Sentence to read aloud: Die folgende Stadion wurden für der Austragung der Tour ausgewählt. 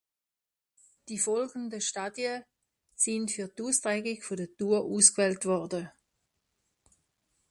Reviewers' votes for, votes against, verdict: 0, 2, rejected